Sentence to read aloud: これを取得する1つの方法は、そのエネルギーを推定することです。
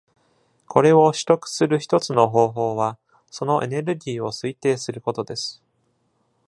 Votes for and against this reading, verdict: 0, 2, rejected